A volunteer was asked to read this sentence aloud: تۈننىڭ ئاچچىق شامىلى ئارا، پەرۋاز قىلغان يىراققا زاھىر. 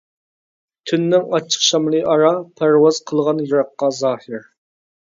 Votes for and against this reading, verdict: 2, 0, accepted